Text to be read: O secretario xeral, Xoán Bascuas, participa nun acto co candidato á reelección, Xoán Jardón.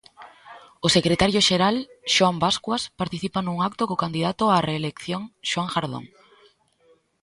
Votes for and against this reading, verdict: 2, 0, accepted